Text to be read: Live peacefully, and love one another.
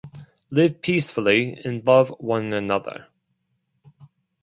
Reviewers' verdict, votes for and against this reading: accepted, 4, 0